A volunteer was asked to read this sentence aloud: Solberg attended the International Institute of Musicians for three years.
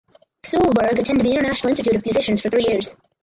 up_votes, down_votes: 0, 4